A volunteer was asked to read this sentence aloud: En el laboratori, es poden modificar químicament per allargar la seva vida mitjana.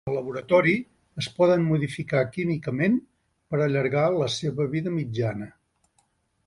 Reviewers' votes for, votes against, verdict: 0, 3, rejected